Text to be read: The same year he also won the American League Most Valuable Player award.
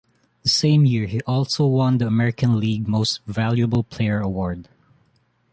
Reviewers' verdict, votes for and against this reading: accepted, 2, 0